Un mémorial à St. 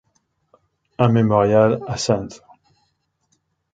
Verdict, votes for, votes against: accepted, 2, 1